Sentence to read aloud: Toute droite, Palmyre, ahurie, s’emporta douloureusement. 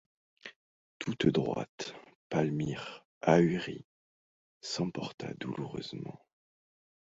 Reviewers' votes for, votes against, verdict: 2, 0, accepted